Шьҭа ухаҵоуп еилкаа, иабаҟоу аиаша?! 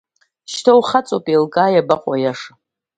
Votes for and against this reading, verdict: 2, 0, accepted